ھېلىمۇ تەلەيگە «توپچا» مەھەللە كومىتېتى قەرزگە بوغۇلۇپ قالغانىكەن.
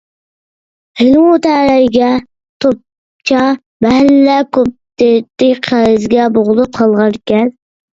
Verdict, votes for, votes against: rejected, 0, 2